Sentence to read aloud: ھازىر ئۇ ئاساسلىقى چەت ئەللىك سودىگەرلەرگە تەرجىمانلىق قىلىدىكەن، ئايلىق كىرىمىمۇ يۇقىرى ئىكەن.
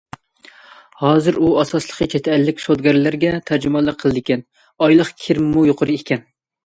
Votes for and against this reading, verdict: 2, 0, accepted